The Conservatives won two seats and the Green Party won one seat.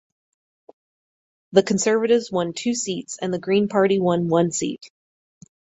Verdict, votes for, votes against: accepted, 4, 0